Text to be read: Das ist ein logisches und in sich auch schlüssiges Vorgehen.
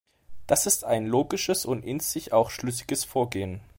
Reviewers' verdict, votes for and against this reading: accepted, 2, 0